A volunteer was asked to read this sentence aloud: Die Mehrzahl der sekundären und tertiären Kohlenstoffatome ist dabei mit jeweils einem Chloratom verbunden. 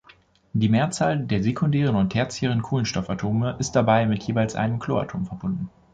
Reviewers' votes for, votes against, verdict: 2, 0, accepted